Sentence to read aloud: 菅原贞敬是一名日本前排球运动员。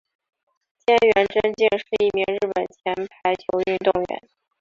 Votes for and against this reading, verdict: 2, 0, accepted